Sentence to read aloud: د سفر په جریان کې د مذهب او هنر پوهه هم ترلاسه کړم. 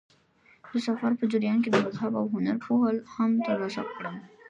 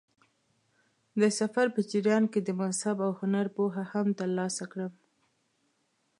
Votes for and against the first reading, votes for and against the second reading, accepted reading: 1, 2, 2, 0, second